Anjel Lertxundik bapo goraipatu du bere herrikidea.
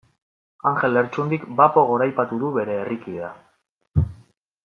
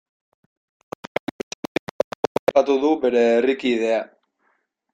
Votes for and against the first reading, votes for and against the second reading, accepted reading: 2, 0, 0, 2, first